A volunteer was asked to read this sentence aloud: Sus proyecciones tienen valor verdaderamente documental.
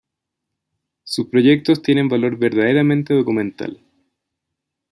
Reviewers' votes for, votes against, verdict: 0, 2, rejected